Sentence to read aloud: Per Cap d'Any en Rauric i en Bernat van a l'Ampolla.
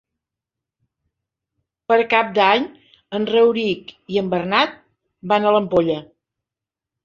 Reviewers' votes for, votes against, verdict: 3, 0, accepted